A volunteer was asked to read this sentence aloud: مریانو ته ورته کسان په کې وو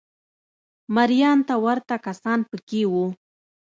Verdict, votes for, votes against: accepted, 2, 0